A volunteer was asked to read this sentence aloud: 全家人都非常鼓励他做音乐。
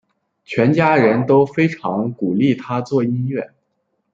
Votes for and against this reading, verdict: 2, 0, accepted